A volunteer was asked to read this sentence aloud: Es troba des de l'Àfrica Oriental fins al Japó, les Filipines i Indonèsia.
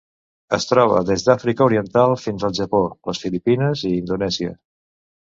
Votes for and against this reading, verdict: 0, 2, rejected